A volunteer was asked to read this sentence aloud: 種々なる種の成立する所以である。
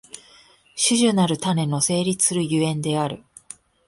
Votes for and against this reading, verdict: 5, 0, accepted